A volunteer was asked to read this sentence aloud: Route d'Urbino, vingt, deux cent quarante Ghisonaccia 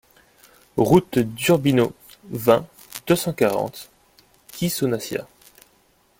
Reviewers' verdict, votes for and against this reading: accepted, 2, 0